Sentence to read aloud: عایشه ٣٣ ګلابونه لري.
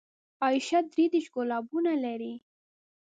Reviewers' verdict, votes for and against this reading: rejected, 0, 2